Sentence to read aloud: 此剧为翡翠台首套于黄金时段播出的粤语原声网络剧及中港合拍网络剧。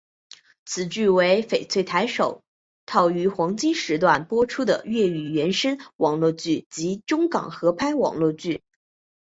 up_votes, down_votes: 2, 0